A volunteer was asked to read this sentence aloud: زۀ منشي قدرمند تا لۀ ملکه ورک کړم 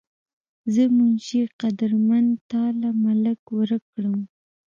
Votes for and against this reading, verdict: 0, 2, rejected